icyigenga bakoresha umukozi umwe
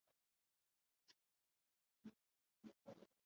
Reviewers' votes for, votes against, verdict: 1, 2, rejected